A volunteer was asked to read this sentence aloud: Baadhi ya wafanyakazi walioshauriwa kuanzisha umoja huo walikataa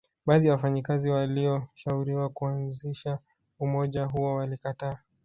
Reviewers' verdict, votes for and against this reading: rejected, 1, 2